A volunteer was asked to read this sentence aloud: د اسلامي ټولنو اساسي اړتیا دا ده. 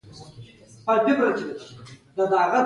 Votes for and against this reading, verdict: 0, 2, rejected